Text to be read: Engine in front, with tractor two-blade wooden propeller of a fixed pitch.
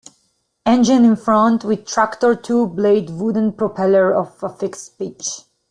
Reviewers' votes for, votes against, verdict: 2, 0, accepted